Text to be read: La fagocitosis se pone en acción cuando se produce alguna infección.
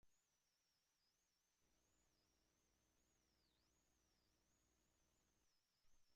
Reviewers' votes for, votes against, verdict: 0, 2, rejected